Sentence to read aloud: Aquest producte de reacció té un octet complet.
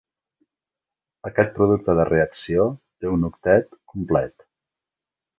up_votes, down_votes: 1, 2